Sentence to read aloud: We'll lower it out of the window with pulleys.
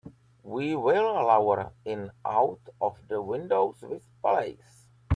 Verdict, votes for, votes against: rejected, 0, 3